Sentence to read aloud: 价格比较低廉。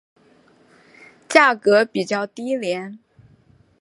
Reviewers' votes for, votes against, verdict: 4, 0, accepted